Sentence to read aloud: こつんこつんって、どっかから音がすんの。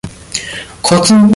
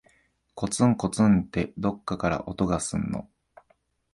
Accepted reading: second